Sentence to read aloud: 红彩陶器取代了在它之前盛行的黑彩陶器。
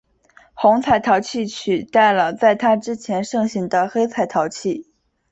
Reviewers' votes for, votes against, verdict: 2, 0, accepted